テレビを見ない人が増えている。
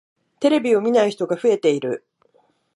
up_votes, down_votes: 2, 0